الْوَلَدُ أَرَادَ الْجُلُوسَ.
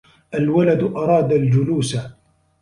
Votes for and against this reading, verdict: 2, 0, accepted